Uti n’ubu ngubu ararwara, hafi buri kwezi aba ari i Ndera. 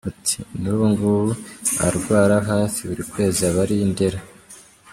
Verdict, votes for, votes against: rejected, 0, 2